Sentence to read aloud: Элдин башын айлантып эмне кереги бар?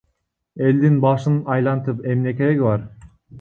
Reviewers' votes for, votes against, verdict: 0, 2, rejected